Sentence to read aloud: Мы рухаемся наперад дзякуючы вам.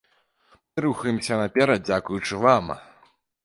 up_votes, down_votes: 0, 2